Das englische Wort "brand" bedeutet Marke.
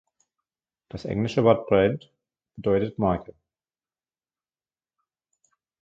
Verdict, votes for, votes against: accepted, 2, 1